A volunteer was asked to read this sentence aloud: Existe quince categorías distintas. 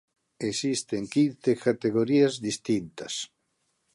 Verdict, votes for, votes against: rejected, 1, 2